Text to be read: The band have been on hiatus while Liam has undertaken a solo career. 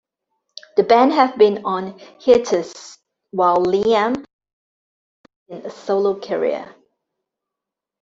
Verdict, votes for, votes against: rejected, 0, 2